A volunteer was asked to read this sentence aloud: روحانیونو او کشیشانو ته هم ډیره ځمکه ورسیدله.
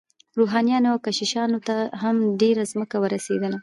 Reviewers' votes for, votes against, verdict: 2, 0, accepted